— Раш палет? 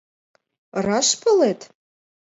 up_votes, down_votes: 2, 0